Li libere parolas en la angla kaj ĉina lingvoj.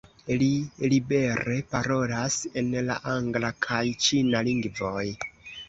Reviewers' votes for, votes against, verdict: 2, 0, accepted